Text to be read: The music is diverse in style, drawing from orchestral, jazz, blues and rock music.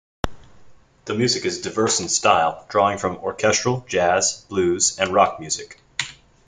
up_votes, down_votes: 2, 1